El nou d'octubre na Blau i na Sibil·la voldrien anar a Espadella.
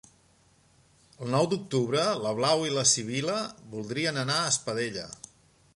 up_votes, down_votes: 2, 0